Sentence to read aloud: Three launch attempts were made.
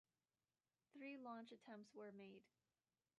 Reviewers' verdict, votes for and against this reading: accepted, 2, 0